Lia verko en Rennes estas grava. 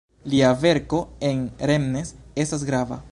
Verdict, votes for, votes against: rejected, 1, 2